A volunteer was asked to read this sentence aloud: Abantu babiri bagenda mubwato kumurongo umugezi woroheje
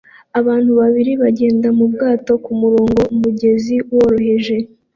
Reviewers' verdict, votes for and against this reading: accepted, 2, 0